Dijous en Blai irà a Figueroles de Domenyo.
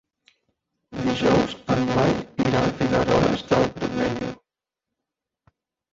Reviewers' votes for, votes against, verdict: 0, 2, rejected